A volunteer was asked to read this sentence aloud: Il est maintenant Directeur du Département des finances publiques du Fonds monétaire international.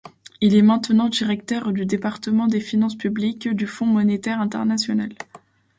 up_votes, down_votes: 2, 1